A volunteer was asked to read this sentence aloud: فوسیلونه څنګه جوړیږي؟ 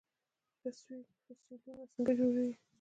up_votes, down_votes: 1, 2